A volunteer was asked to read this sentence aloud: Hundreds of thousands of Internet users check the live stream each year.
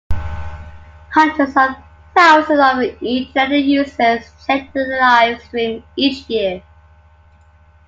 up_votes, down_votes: 1, 2